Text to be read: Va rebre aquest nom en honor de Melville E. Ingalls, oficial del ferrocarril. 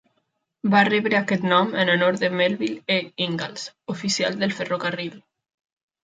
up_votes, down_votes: 2, 0